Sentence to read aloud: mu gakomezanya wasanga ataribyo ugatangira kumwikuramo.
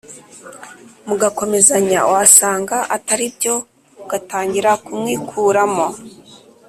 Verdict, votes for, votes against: accepted, 3, 0